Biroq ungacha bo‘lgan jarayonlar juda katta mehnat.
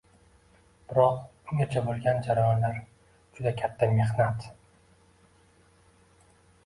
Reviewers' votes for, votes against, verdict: 2, 0, accepted